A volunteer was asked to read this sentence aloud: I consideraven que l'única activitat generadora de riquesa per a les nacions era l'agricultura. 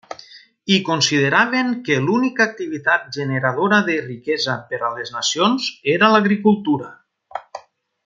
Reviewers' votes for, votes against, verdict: 2, 0, accepted